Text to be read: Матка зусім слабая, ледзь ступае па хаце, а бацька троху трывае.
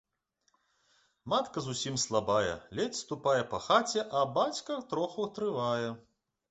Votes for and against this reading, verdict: 2, 0, accepted